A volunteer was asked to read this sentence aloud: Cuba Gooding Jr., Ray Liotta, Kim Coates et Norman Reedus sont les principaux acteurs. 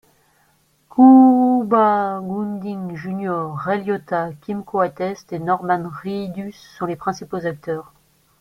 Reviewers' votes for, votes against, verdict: 1, 2, rejected